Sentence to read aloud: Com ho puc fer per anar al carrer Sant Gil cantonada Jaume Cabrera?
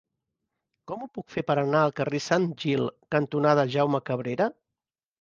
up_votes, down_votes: 4, 0